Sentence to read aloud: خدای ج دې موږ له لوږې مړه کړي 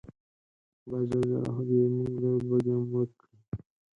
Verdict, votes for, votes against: rejected, 0, 4